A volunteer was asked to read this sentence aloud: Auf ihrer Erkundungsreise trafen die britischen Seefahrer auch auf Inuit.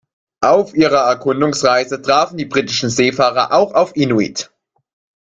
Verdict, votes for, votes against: rejected, 0, 2